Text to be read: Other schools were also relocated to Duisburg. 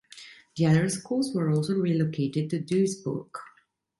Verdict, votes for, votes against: rejected, 0, 2